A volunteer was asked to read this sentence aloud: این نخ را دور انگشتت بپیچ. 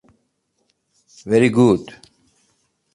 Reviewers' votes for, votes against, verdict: 0, 3, rejected